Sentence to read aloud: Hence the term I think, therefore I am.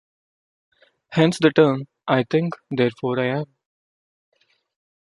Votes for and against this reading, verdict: 2, 0, accepted